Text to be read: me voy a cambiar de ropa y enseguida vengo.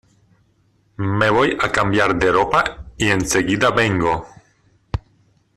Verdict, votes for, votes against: rejected, 1, 2